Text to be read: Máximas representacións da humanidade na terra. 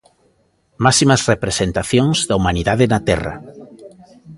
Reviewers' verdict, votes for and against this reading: rejected, 0, 2